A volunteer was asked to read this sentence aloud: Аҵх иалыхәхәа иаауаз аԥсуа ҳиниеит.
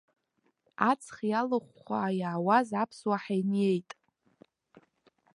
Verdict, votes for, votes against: accepted, 2, 0